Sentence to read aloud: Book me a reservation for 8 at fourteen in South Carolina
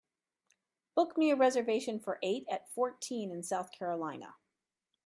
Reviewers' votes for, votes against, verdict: 0, 2, rejected